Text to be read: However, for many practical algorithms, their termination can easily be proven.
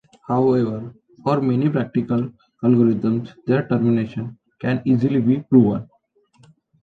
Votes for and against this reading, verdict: 1, 2, rejected